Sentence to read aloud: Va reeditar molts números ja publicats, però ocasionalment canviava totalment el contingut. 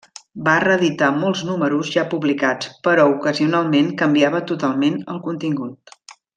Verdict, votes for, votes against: accepted, 2, 0